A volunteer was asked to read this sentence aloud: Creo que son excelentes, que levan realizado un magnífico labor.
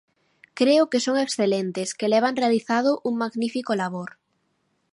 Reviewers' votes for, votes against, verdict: 2, 0, accepted